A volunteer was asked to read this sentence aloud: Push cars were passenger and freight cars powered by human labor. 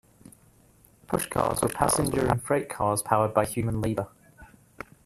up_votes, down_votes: 1, 2